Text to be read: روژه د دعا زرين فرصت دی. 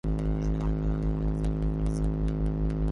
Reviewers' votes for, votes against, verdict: 0, 3, rejected